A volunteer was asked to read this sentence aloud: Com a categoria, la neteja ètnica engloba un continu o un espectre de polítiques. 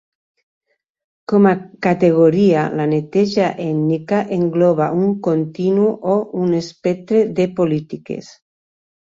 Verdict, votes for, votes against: accepted, 2, 0